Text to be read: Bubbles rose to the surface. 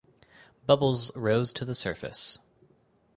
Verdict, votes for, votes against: accepted, 4, 0